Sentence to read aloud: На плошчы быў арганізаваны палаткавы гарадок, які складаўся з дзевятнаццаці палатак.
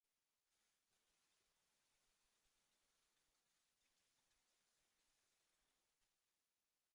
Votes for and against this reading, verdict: 0, 2, rejected